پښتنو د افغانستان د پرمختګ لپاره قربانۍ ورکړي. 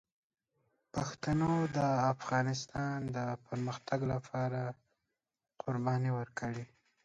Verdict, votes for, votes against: rejected, 1, 2